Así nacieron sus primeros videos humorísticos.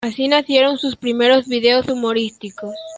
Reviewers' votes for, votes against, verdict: 2, 0, accepted